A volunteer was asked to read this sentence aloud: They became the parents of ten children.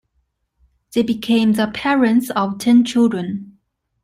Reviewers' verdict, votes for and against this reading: accepted, 2, 0